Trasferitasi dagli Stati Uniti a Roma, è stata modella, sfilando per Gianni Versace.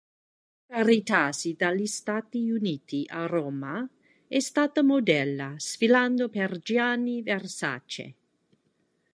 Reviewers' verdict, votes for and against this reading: rejected, 0, 2